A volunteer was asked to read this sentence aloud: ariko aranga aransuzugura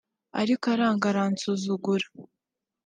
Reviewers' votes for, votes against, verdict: 2, 0, accepted